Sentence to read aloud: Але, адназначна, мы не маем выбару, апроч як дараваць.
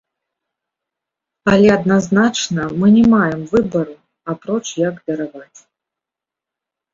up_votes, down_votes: 2, 0